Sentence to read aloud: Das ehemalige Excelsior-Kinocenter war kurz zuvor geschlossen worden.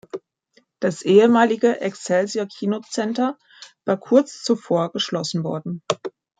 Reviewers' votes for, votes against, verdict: 2, 0, accepted